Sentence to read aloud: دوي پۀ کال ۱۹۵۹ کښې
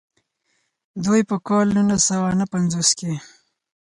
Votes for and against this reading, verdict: 0, 2, rejected